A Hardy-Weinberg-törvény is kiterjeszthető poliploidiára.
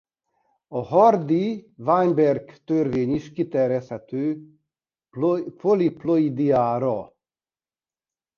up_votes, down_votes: 0, 2